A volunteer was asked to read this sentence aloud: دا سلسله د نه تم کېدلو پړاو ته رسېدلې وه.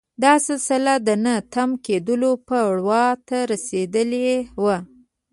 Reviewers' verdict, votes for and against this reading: rejected, 0, 2